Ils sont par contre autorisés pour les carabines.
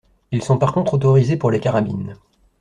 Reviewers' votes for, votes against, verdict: 2, 0, accepted